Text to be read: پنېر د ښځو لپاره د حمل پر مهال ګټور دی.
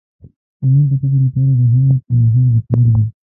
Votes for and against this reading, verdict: 0, 2, rejected